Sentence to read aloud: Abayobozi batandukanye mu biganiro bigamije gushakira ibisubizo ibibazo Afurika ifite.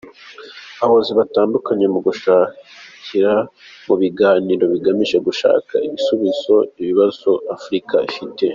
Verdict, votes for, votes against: rejected, 0, 2